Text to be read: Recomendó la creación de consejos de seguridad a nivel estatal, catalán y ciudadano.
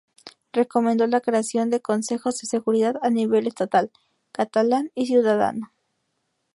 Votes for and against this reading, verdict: 0, 2, rejected